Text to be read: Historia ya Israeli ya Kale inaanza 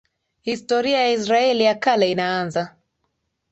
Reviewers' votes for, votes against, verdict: 3, 3, rejected